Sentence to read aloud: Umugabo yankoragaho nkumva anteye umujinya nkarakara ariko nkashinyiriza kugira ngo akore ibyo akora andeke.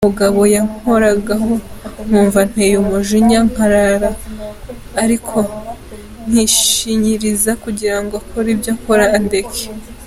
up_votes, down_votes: 0, 2